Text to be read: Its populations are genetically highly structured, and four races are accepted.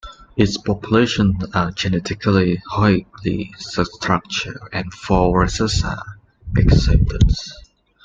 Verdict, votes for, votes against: rejected, 0, 2